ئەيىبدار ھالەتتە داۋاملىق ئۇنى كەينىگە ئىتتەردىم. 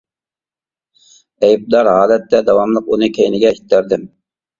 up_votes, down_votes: 2, 0